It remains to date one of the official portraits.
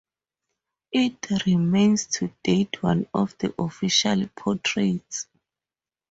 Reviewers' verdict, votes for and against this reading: accepted, 4, 0